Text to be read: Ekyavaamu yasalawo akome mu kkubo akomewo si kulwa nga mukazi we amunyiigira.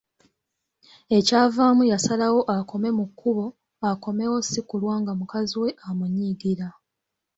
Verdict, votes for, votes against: accepted, 3, 0